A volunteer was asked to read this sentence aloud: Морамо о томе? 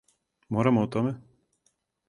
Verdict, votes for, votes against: accepted, 4, 0